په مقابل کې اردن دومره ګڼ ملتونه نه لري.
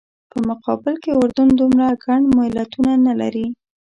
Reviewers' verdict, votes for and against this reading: rejected, 0, 2